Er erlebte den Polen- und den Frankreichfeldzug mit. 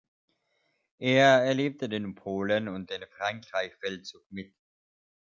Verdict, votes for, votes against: accepted, 2, 0